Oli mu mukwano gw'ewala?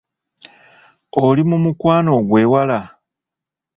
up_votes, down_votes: 2, 0